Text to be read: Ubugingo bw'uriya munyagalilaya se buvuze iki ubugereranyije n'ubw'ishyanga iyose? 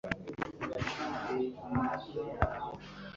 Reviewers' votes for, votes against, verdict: 0, 3, rejected